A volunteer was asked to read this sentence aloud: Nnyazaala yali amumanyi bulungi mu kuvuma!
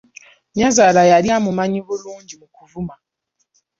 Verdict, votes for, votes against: rejected, 0, 2